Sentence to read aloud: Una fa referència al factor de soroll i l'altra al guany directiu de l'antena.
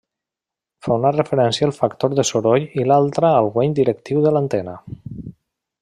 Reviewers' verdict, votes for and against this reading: rejected, 1, 2